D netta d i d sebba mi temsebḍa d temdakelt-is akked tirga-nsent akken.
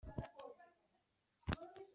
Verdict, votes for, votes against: rejected, 0, 2